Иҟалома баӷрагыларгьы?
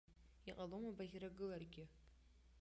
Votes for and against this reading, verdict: 0, 2, rejected